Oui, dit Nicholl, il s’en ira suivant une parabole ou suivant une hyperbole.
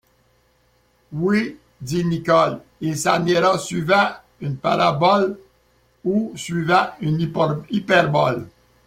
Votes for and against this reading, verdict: 1, 2, rejected